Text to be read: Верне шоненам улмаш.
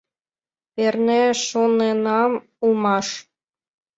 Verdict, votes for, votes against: accepted, 2, 0